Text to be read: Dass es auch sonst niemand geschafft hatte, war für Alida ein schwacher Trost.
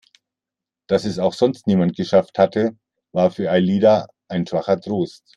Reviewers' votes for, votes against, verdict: 2, 1, accepted